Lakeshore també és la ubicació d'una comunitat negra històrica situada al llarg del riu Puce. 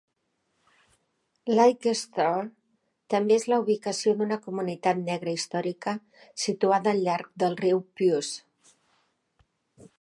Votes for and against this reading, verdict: 2, 3, rejected